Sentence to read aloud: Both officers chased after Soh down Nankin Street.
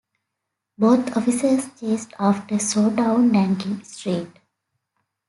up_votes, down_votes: 2, 1